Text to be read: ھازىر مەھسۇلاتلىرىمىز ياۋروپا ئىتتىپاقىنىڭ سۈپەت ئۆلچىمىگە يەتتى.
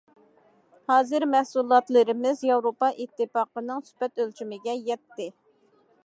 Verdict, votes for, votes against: accepted, 2, 0